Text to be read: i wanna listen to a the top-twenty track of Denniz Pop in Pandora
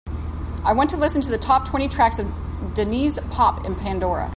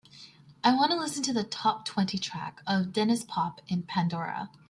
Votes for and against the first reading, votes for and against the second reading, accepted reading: 1, 2, 2, 0, second